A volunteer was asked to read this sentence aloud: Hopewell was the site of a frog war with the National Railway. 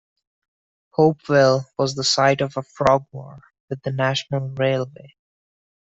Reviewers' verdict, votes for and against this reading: accepted, 2, 1